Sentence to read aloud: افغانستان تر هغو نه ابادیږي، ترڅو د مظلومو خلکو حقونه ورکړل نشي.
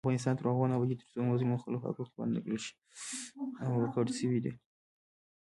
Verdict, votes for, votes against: rejected, 0, 2